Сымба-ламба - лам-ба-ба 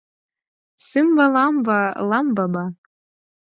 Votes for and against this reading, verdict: 4, 0, accepted